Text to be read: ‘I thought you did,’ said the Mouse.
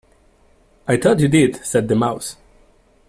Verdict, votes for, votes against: accepted, 2, 0